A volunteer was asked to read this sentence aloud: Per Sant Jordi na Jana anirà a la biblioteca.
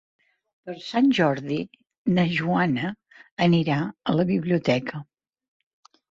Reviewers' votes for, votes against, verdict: 1, 2, rejected